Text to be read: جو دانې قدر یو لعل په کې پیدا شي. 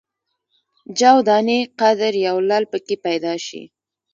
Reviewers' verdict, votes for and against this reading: accepted, 2, 1